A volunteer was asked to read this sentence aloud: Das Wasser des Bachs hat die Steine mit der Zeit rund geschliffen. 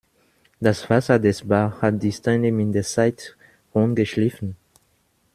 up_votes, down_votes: 1, 2